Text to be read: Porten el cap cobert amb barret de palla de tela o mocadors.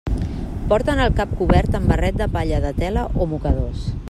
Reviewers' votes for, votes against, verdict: 2, 0, accepted